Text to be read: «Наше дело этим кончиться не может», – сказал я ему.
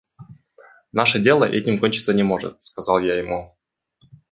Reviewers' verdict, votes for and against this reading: accepted, 2, 0